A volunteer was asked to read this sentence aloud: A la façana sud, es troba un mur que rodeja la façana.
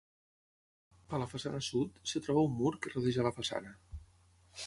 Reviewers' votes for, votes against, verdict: 0, 3, rejected